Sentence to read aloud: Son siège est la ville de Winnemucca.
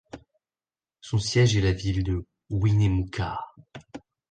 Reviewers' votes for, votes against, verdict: 2, 0, accepted